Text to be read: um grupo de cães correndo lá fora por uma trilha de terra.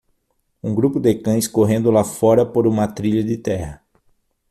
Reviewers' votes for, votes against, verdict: 6, 0, accepted